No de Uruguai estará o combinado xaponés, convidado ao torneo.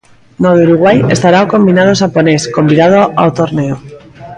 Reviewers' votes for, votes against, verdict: 2, 0, accepted